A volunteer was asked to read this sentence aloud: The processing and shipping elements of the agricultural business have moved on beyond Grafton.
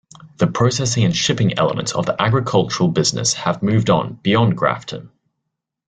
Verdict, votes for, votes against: accepted, 2, 0